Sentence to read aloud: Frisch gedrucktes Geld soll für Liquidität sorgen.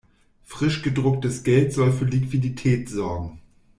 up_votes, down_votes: 2, 0